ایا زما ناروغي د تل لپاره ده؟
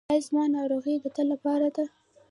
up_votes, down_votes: 1, 2